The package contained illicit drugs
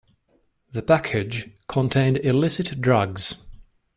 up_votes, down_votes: 2, 0